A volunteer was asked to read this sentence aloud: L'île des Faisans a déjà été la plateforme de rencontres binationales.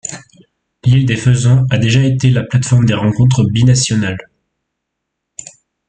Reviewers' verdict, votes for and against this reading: rejected, 1, 2